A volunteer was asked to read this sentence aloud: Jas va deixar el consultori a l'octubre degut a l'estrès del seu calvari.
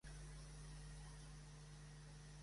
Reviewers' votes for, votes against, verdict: 0, 2, rejected